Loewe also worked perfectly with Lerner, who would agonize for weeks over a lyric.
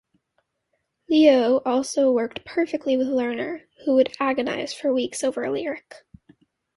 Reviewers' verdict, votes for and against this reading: accepted, 2, 0